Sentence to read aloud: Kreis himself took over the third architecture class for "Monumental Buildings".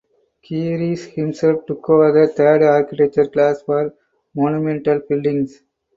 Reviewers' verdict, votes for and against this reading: rejected, 0, 4